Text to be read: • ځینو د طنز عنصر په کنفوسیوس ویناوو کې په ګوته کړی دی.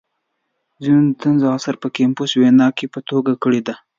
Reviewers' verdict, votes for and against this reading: accepted, 2, 1